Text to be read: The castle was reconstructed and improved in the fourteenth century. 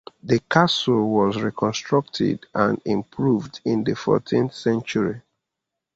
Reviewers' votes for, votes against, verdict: 2, 0, accepted